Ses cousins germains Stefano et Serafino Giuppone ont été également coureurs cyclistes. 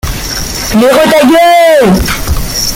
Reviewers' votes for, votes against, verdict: 0, 2, rejected